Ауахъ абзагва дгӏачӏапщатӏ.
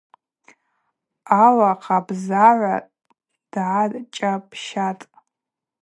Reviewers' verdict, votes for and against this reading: rejected, 0, 4